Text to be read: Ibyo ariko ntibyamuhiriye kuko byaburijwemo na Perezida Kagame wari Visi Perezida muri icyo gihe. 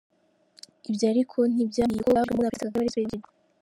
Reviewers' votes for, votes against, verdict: 0, 2, rejected